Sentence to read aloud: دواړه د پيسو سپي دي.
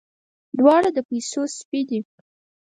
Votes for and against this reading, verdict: 4, 0, accepted